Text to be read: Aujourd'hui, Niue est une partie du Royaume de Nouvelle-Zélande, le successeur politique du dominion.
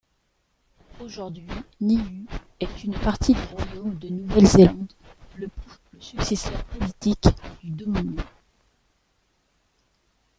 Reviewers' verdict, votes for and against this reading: rejected, 0, 2